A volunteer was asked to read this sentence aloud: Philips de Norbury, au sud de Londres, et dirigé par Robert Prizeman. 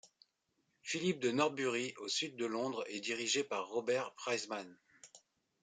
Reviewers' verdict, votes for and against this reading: rejected, 0, 2